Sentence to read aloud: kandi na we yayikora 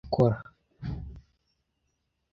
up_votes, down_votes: 0, 2